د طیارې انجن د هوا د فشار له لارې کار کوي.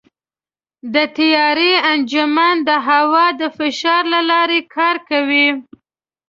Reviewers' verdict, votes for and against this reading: rejected, 0, 2